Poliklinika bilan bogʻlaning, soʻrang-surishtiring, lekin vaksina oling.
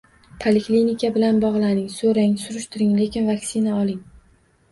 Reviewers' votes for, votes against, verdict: 2, 0, accepted